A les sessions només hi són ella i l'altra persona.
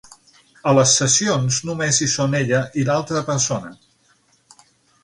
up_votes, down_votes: 9, 0